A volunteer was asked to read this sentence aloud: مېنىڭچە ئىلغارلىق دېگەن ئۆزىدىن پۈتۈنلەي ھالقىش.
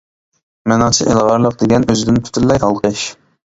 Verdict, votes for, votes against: accepted, 2, 1